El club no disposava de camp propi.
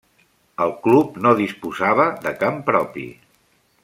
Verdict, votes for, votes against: accepted, 3, 0